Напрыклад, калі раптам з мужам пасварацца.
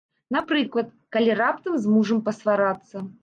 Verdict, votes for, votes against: rejected, 0, 2